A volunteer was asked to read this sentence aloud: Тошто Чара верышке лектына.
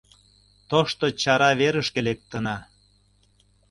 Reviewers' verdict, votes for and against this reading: accepted, 2, 0